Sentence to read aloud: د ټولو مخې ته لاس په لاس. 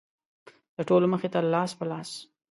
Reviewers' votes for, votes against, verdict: 4, 0, accepted